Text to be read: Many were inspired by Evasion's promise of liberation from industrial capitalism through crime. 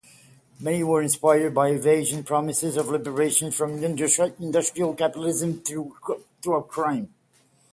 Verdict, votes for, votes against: rejected, 0, 6